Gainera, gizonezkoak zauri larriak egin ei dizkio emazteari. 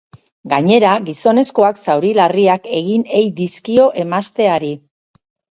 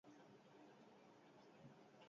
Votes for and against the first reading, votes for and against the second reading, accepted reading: 10, 0, 0, 6, first